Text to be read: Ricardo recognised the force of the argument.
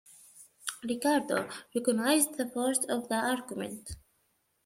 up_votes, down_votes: 2, 1